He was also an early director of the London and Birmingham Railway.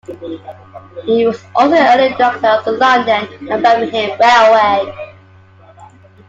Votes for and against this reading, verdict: 0, 2, rejected